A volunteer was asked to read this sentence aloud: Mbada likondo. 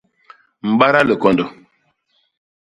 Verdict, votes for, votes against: rejected, 0, 2